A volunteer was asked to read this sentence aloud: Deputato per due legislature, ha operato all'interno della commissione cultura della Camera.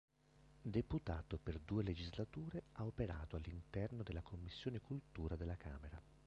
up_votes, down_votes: 1, 2